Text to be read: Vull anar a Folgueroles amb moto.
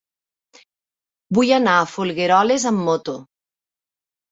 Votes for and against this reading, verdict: 2, 0, accepted